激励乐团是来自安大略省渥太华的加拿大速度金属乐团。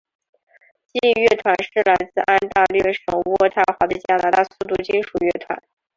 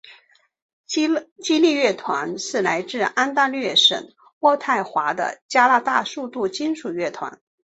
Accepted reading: first